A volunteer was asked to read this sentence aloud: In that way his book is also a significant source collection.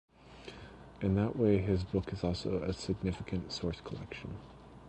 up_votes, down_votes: 1, 2